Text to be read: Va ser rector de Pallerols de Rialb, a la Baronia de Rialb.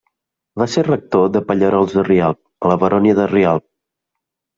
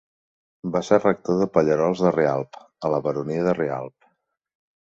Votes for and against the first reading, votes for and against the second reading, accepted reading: 0, 2, 2, 0, second